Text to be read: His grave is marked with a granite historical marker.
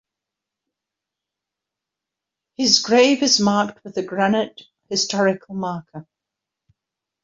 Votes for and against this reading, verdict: 2, 0, accepted